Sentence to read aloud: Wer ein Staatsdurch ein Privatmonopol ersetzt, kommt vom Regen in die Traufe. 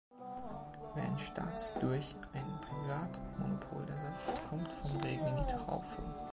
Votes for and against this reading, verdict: 0, 2, rejected